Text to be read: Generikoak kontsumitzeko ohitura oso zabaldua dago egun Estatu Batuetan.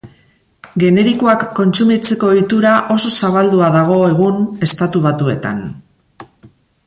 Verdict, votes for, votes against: rejected, 2, 2